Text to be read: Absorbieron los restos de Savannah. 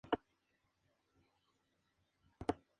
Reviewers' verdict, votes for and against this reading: rejected, 0, 2